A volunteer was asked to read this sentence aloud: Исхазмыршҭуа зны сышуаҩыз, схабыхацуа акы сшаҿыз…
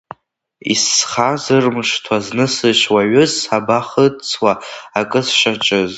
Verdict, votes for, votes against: rejected, 0, 2